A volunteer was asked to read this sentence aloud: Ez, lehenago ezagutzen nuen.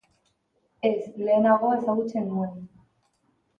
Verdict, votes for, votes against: accepted, 2, 0